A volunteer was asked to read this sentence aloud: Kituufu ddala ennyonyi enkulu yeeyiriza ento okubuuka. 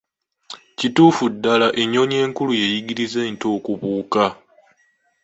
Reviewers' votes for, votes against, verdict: 2, 0, accepted